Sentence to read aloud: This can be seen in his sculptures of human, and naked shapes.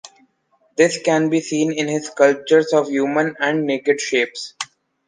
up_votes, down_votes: 2, 0